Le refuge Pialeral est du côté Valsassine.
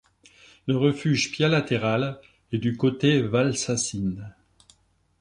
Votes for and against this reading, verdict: 1, 2, rejected